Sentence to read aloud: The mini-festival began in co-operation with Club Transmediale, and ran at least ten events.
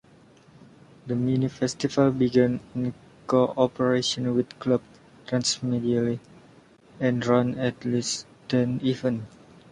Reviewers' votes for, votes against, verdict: 0, 2, rejected